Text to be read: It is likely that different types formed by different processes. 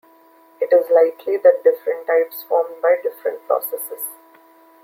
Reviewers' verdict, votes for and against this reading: accepted, 2, 0